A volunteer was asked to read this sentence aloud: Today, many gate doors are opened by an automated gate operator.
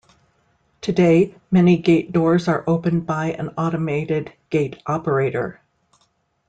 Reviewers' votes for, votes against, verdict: 2, 0, accepted